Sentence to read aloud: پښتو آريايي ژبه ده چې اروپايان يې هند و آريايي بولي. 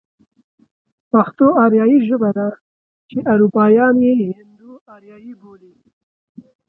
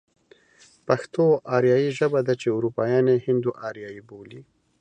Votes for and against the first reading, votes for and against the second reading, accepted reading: 0, 2, 2, 0, second